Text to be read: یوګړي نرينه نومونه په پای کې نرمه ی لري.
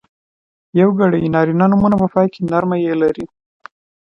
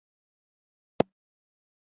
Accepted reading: first